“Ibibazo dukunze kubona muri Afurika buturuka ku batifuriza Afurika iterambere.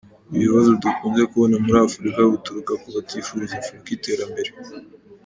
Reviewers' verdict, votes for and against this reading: accepted, 2, 0